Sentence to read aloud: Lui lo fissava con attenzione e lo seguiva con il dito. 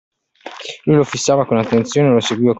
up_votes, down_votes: 1, 2